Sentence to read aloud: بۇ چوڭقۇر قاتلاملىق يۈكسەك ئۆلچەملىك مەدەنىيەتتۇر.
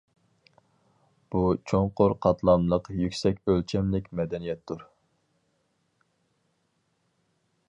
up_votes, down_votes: 4, 0